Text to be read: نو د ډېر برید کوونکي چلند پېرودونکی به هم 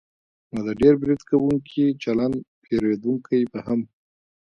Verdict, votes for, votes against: accepted, 2, 0